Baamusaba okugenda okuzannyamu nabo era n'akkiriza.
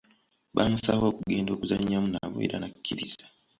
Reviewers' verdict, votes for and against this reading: accepted, 2, 0